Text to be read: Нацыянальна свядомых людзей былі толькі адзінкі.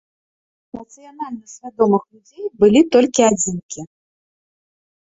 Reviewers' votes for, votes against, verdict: 1, 2, rejected